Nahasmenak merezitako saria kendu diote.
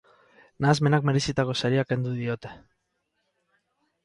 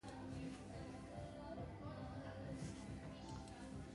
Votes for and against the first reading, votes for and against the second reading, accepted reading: 4, 2, 0, 3, first